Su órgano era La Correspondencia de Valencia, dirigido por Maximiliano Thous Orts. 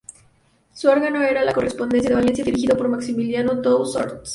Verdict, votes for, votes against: rejected, 0, 6